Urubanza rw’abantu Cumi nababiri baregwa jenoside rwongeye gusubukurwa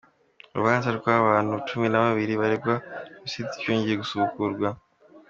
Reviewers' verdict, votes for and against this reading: accepted, 2, 0